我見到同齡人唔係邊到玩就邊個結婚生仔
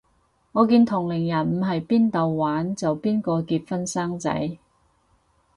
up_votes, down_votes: 2, 4